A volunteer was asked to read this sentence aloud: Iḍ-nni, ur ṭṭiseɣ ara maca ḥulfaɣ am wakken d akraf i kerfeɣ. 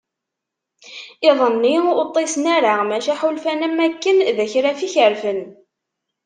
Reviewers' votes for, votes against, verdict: 1, 2, rejected